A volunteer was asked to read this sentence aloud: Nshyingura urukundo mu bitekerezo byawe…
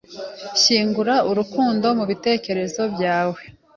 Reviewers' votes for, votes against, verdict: 2, 0, accepted